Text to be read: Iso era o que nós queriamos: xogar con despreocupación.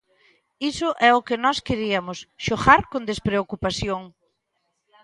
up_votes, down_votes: 0, 2